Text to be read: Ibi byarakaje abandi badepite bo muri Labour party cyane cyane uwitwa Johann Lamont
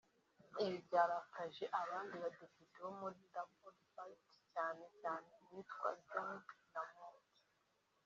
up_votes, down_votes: 1, 2